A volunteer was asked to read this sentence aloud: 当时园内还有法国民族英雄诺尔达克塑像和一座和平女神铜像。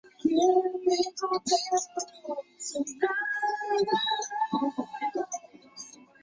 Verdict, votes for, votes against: accepted, 3, 1